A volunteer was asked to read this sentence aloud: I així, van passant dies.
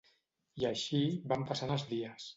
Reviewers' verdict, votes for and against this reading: accepted, 2, 0